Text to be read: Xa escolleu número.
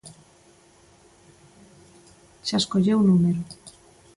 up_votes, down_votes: 2, 0